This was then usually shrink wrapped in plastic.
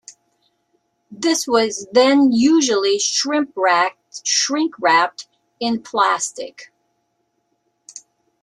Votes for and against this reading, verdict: 0, 3, rejected